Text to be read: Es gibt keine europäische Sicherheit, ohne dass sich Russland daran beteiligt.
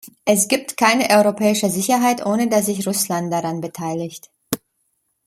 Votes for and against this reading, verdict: 2, 0, accepted